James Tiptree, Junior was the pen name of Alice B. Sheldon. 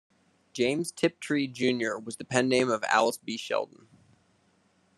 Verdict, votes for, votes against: rejected, 1, 2